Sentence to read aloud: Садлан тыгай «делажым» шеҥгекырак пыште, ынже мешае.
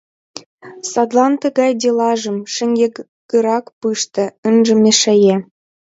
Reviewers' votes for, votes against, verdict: 2, 0, accepted